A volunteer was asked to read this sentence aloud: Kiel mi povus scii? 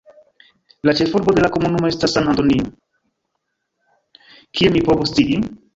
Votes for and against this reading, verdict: 1, 2, rejected